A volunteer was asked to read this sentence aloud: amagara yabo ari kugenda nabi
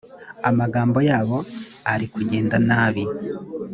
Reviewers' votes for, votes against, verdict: 0, 2, rejected